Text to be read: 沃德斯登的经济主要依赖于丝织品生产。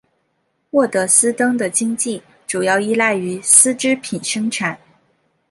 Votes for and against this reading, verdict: 2, 0, accepted